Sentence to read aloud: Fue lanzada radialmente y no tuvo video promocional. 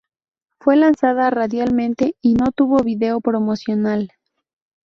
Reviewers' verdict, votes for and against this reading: accepted, 4, 0